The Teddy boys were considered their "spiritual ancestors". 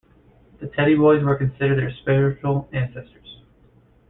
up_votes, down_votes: 1, 2